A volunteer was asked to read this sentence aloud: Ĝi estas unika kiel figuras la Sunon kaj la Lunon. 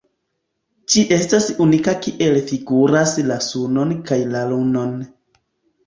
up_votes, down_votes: 1, 2